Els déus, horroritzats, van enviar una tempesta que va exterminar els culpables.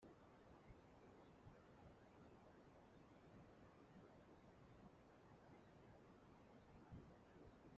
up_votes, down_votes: 0, 2